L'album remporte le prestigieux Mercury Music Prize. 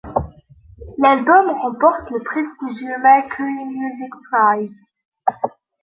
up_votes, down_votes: 2, 0